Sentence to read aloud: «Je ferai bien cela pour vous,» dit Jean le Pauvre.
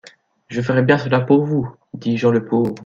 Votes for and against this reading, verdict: 2, 0, accepted